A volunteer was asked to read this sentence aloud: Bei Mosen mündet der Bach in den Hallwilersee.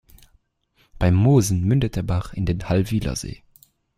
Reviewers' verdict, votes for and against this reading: accepted, 2, 0